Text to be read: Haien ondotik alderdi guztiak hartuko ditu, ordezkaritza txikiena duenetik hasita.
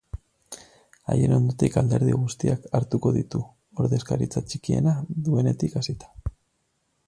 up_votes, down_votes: 4, 0